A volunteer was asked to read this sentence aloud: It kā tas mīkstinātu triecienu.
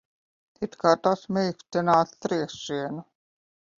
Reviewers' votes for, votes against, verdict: 1, 2, rejected